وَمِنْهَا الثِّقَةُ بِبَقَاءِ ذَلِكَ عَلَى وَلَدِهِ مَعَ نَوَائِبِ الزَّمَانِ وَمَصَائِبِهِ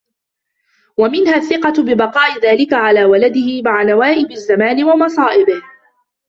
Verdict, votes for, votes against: accepted, 2, 1